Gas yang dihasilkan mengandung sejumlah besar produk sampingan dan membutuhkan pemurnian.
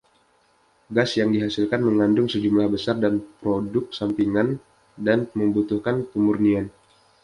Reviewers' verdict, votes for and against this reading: accepted, 2, 0